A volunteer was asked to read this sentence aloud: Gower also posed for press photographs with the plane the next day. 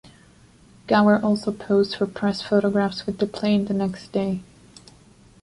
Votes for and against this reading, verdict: 2, 0, accepted